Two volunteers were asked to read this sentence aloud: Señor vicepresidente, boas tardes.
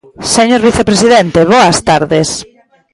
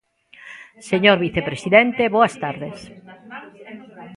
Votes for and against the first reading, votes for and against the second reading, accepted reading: 2, 0, 0, 2, first